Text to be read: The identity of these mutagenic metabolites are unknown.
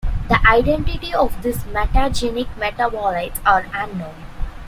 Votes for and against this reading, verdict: 2, 1, accepted